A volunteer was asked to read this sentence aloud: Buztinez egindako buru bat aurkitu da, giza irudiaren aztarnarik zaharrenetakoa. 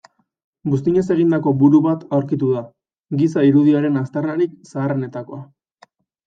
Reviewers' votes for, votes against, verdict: 2, 0, accepted